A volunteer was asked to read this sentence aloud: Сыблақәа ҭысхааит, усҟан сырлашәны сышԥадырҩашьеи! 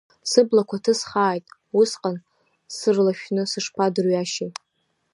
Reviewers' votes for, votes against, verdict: 2, 1, accepted